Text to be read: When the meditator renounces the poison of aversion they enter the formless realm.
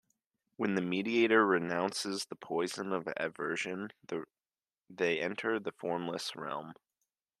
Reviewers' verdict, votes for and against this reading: rejected, 0, 2